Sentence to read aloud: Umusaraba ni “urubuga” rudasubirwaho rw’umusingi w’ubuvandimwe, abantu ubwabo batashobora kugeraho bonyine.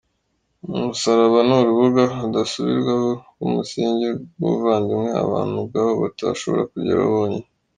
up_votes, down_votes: 2, 4